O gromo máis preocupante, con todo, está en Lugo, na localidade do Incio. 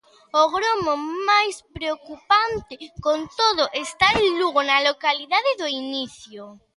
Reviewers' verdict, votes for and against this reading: rejected, 0, 2